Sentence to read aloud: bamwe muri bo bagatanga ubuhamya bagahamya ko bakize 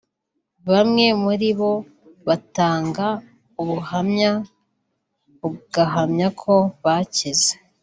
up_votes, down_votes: 0, 2